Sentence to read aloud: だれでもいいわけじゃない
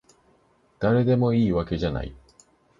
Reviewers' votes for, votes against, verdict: 2, 0, accepted